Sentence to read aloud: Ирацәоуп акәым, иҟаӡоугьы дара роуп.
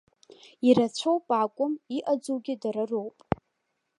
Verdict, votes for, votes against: accepted, 2, 0